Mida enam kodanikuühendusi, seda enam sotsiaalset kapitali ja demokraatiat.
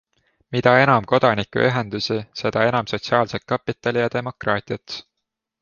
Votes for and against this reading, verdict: 2, 0, accepted